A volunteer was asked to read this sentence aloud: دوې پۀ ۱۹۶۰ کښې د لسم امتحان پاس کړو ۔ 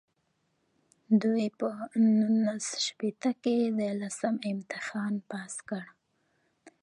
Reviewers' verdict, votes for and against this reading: rejected, 0, 2